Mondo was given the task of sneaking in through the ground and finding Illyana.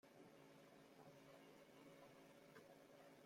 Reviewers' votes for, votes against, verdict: 0, 2, rejected